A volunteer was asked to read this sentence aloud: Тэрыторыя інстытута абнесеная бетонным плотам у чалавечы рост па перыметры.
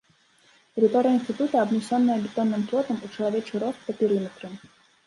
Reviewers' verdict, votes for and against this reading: rejected, 1, 2